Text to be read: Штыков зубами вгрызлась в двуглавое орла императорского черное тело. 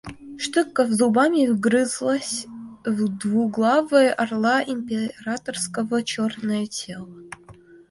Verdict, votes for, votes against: rejected, 1, 2